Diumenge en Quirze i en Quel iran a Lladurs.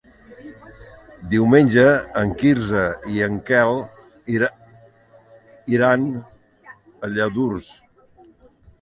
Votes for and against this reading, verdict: 0, 2, rejected